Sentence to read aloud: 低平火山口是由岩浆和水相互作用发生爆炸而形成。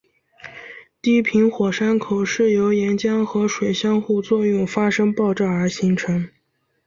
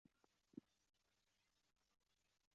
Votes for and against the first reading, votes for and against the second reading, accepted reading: 2, 0, 3, 4, first